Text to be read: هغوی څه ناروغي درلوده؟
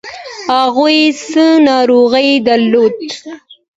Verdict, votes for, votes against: accepted, 2, 1